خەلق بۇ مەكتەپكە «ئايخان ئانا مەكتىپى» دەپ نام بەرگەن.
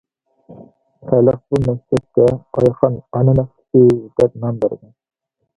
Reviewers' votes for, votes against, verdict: 0, 2, rejected